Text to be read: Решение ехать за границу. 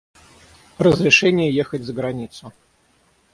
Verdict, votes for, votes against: rejected, 0, 6